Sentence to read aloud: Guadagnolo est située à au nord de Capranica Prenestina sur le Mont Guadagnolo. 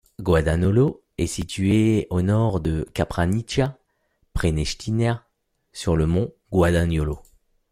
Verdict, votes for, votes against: rejected, 0, 2